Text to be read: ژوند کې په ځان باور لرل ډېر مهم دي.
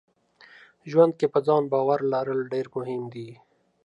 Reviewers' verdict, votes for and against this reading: accepted, 2, 0